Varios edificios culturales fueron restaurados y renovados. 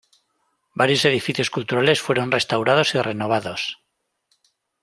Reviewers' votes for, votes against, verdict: 2, 0, accepted